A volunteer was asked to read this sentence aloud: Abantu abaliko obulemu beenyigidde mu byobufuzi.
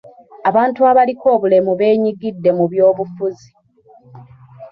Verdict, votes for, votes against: accepted, 2, 1